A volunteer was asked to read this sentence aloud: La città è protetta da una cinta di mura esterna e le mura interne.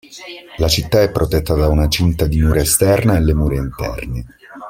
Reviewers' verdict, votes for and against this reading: rejected, 1, 2